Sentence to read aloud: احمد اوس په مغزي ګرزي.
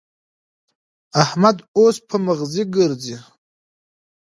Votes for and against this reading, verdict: 3, 0, accepted